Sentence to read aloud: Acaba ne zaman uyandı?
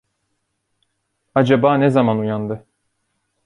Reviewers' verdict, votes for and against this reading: accepted, 2, 1